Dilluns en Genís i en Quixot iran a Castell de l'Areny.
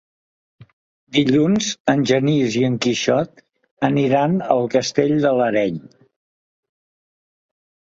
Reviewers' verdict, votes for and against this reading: rejected, 0, 2